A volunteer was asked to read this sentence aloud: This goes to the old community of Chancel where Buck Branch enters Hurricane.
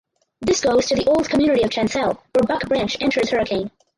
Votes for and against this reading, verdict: 2, 4, rejected